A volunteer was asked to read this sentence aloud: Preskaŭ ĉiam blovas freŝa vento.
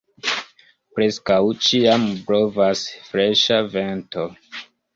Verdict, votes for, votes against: rejected, 1, 2